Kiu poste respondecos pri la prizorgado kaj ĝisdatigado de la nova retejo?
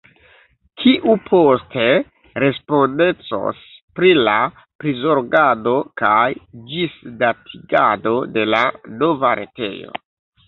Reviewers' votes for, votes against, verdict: 2, 1, accepted